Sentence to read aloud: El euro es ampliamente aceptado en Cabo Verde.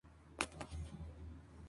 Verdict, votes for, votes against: rejected, 0, 2